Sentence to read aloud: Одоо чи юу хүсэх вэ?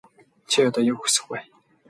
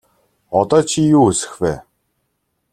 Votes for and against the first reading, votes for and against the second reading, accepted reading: 0, 2, 2, 0, second